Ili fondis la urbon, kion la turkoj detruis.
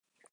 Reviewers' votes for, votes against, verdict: 1, 4, rejected